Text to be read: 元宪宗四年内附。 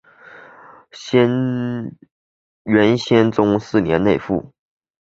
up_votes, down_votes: 1, 2